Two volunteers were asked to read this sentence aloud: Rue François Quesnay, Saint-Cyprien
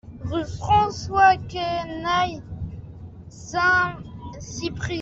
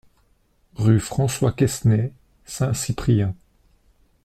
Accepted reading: second